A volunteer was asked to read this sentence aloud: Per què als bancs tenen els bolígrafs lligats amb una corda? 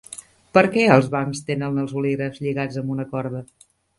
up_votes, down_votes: 2, 0